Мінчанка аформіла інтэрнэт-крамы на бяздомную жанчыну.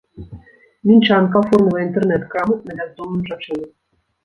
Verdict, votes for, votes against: rejected, 1, 2